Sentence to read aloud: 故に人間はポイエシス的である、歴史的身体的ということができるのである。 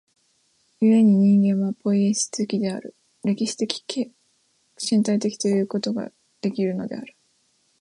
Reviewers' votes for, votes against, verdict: 1, 2, rejected